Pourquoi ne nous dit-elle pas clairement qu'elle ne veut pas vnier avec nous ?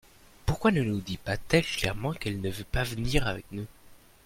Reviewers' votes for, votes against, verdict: 1, 2, rejected